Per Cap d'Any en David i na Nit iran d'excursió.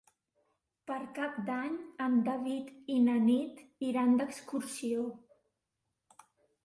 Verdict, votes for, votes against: rejected, 1, 2